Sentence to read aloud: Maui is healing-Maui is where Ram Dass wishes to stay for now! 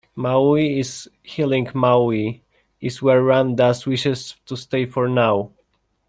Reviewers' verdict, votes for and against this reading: rejected, 0, 2